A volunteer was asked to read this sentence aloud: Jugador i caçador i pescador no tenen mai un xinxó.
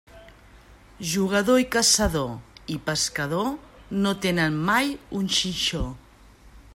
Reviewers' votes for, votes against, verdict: 4, 0, accepted